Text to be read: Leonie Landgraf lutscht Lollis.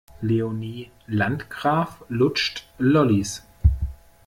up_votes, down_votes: 2, 0